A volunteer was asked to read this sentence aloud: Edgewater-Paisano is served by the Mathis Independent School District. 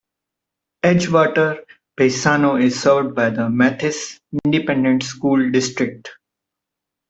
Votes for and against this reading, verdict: 2, 0, accepted